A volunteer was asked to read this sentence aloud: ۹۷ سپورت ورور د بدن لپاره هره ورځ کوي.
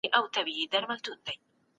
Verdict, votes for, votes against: rejected, 0, 2